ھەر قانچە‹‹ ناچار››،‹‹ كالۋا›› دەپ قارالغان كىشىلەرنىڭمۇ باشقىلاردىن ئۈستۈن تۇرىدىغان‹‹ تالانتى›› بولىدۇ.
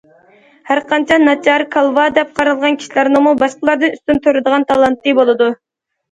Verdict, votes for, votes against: accepted, 2, 0